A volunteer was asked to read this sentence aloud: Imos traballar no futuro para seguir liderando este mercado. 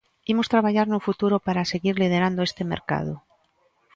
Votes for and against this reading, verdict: 2, 0, accepted